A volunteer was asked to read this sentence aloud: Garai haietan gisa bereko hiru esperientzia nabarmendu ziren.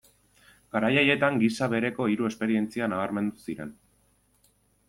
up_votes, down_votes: 2, 0